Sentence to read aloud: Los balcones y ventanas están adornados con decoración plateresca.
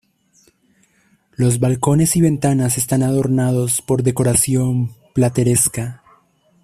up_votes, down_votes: 1, 2